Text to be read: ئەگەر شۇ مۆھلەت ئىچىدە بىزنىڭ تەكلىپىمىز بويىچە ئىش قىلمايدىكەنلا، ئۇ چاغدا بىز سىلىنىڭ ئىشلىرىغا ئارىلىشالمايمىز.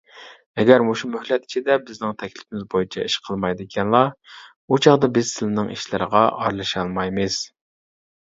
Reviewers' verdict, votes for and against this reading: rejected, 1, 2